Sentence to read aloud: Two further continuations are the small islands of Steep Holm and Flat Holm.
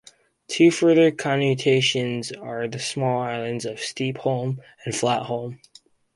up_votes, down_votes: 0, 4